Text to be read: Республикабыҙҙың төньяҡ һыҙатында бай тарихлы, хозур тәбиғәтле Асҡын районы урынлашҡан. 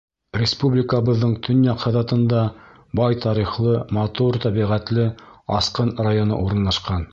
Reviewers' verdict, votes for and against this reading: rejected, 1, 2